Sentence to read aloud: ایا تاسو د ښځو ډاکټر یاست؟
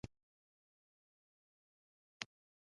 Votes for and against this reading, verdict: 1, 2, rejected